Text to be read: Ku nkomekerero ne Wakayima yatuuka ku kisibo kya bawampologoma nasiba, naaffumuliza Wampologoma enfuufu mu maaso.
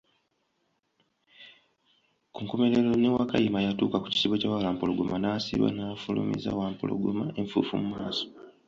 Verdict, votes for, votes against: accepted, 2, 0